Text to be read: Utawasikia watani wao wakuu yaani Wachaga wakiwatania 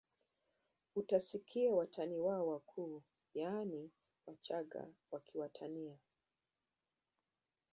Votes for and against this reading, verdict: 0, 2, rejected